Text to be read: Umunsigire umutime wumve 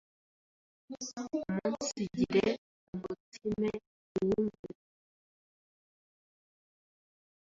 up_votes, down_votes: 1, 2